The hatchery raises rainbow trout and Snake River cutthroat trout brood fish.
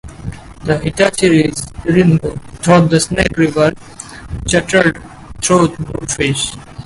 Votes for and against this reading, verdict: 0, 2, rejected